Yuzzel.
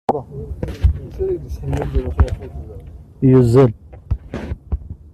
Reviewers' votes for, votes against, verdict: 0, 2, rejected